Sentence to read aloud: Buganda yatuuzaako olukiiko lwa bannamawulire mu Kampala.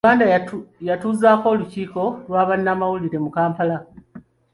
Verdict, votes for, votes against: rejected, 0, 2